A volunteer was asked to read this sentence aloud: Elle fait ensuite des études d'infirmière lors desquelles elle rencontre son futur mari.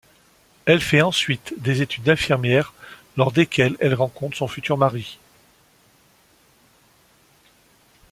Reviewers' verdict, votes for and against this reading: accepted, 2, 0